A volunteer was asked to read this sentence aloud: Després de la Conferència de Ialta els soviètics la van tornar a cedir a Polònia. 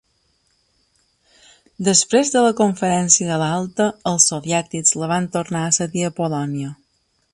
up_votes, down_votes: 1, 2